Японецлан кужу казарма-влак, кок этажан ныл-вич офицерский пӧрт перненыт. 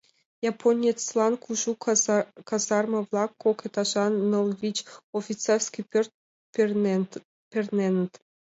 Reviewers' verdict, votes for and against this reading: accepted, 2, 1